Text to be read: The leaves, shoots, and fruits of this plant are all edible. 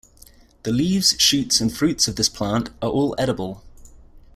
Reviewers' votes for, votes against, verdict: 2, 0, accepted